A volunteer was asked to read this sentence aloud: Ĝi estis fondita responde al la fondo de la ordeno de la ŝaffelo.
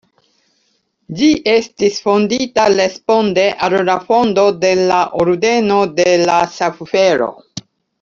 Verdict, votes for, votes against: rejected, 0, 2